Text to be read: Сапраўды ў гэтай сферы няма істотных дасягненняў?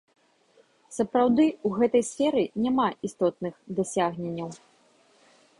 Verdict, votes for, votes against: rejected, 0, 2